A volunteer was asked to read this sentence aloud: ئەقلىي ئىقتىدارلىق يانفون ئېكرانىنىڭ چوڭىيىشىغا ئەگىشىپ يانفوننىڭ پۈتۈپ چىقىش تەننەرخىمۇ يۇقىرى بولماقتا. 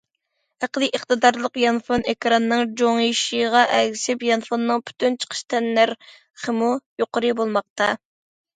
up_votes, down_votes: 0, 2